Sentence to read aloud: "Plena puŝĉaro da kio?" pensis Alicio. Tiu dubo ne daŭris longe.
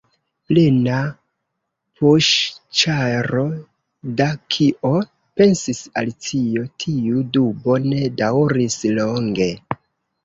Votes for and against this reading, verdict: 1, 2, rejected